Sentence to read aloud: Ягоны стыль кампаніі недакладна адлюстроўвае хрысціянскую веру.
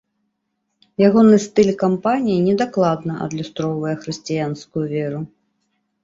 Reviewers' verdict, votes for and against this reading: accepted, 2, 0